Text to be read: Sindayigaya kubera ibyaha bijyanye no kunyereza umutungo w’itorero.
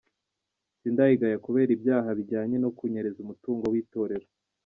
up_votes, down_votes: 2, 0